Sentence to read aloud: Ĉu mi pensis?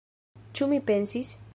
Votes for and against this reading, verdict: 1, 2, rejected